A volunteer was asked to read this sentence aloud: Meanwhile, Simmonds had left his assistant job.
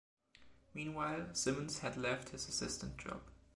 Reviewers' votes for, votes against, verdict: 2, 0, accepted